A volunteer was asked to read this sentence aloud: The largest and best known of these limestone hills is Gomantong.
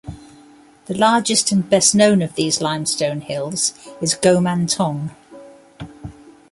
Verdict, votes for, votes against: accepted, 2, 0